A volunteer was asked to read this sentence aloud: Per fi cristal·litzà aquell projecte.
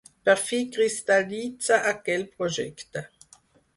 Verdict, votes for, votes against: rejected, 2, 4